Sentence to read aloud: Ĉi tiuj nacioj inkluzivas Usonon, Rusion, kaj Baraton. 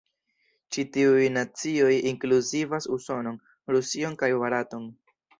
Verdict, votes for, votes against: accepted, 2, 0